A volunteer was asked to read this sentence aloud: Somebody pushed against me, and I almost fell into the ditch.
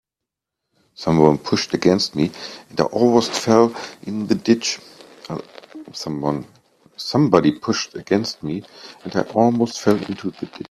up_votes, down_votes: 0, 3